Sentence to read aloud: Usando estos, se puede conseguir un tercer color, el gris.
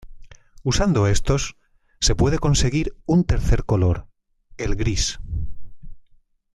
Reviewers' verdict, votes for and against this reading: accepted, 2, 0